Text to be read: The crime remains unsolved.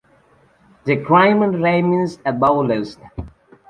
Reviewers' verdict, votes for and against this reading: rejected, 0, 2